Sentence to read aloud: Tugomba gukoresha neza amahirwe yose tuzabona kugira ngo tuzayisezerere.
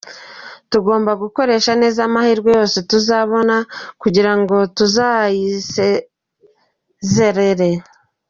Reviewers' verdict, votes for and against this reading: accepted, 2, 0